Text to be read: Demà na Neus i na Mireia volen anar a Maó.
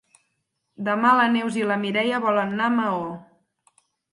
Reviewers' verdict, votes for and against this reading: rejected, 2, 6